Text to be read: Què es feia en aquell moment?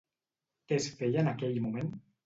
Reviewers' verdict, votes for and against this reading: accepted, 2, 0